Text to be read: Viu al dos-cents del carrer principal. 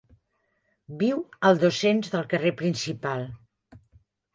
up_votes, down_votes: 3, 0